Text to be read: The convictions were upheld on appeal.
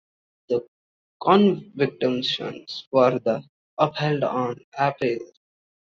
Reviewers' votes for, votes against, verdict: 0, 2, rejected